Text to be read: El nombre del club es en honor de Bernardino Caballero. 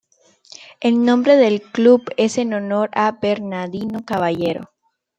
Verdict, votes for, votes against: rejected, 0, 2